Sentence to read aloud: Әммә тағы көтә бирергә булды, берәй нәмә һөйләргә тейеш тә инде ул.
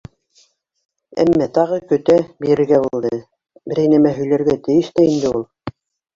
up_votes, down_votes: 1, 2